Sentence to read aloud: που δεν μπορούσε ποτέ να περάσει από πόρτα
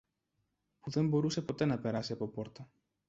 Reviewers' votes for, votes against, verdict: 0, 2, rejected